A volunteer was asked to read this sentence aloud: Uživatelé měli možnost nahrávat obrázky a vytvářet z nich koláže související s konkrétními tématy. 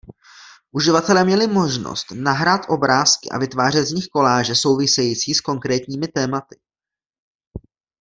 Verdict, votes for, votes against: rejected, 1, 2